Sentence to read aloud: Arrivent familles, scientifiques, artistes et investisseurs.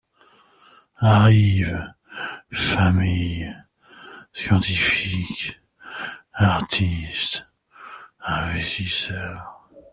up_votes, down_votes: 2, 1